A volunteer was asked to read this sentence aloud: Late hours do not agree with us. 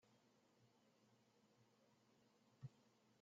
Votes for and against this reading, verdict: 0, 2, rejected